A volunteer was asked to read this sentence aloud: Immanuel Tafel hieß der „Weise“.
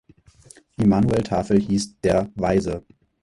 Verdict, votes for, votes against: rejected, 2, 4